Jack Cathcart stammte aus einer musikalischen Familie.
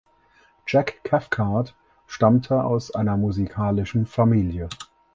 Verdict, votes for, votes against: accepted, 4, 0